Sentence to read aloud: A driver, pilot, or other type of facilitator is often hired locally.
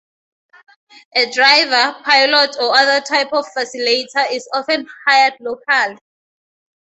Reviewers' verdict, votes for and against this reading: rejected, 0, 2